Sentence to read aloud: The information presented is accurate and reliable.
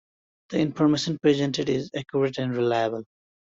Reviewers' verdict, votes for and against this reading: accepted, 2, 1